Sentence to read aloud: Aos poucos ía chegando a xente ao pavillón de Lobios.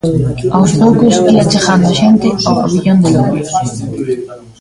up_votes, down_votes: 0, 2